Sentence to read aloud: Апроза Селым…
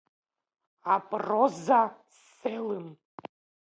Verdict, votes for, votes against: accepted, 2, 0